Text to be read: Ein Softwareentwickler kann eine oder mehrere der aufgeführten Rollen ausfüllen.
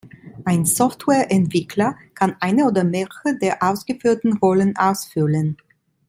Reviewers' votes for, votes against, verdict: 2, 1, accepted